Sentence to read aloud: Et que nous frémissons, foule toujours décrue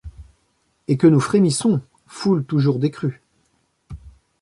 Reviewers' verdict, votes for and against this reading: accepted, 2, 0